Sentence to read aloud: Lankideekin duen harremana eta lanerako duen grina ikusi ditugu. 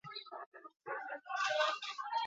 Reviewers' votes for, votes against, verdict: 0, 8, rejected